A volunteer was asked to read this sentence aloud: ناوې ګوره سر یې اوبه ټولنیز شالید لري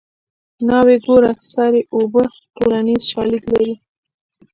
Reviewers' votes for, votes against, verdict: 2, 0, accepted